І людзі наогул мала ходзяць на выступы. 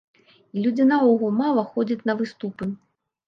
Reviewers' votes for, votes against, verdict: 1, 2, rejected